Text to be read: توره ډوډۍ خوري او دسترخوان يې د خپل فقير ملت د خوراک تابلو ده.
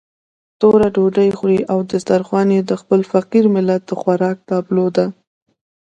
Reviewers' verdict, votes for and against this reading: accepted, 3, 1